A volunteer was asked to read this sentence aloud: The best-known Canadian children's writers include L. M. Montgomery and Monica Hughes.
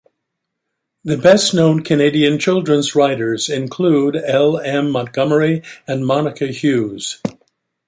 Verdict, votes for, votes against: accepted, 2, 0